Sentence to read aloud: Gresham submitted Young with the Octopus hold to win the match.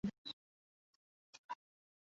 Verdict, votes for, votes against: rejected, 0, 2